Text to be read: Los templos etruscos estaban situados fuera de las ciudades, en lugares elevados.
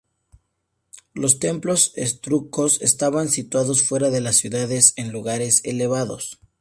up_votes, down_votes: 0, 2